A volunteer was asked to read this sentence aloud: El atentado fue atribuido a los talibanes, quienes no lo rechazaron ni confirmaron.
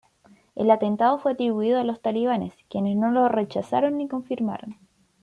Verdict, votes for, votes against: accepted, 2, 0